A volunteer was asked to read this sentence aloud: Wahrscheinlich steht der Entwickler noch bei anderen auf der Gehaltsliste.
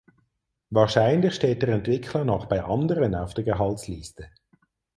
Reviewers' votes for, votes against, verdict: 6, 0, accepted